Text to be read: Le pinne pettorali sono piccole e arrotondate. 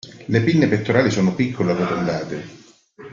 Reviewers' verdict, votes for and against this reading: accepted, 2, 0